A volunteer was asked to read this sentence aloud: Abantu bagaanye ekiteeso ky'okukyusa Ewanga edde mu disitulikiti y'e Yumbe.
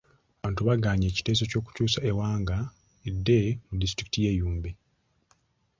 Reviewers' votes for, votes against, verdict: 1, 2, rejected